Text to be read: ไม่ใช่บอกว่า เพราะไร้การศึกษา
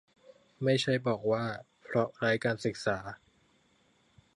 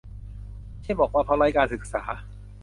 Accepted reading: first